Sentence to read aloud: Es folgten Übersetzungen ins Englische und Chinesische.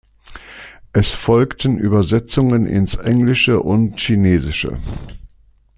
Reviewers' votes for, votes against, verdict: 2, 0, accepted